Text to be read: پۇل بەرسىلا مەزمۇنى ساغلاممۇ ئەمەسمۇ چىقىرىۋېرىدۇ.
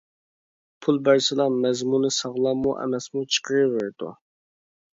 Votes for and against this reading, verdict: 2, 0, accepted